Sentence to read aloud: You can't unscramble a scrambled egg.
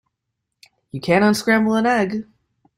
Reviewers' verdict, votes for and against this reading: rejected, 0, 2